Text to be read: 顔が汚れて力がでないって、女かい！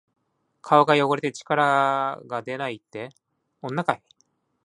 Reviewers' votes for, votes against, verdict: 2, 0, accepted